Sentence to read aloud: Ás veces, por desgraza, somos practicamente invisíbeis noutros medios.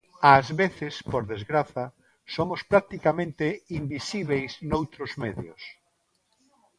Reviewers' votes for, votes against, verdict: 3, 0, accepted